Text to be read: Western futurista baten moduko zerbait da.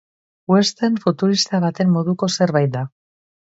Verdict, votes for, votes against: accepted, 2, 0